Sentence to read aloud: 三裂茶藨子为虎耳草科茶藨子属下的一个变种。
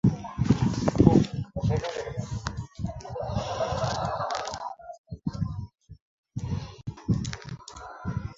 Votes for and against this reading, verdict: 0, 2, rejected